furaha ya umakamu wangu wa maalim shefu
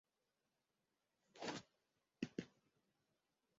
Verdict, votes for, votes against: rejected, 0, 2